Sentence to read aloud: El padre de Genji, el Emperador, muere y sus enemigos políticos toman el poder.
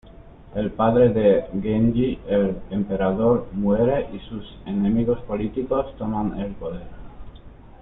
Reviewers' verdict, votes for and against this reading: accepted, 2, 1